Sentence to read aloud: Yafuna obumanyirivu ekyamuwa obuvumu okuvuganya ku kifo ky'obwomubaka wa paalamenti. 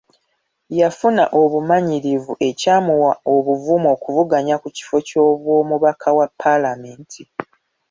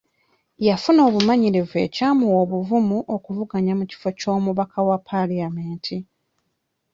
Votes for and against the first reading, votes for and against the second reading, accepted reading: 2, 0, 0, 2, first